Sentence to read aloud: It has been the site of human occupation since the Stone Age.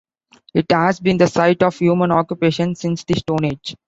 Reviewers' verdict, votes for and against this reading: accepted, 2, 0